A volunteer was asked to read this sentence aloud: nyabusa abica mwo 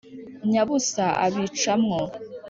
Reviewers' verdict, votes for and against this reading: accepted, 2, 0